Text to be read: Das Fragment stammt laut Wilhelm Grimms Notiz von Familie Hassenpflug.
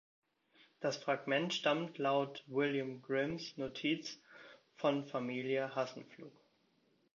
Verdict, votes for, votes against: rejected, 0, 2